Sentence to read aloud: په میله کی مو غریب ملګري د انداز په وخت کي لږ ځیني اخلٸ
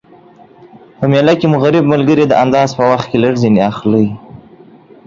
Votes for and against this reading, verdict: 2, 0, accepted